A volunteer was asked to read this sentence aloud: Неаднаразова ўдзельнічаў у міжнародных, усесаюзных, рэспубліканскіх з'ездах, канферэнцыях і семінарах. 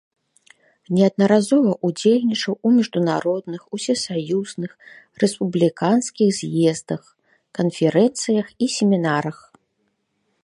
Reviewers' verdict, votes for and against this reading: rejected, 1, 2